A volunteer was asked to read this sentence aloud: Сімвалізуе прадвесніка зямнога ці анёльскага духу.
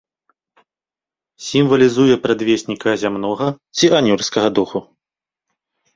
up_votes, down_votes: 2, 0